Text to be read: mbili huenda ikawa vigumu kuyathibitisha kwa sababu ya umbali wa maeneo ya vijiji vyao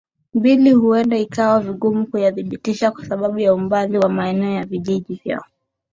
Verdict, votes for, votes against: accepted, 2, 0